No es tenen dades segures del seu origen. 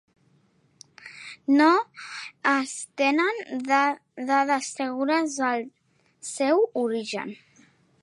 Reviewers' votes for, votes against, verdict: 1, 2, rejected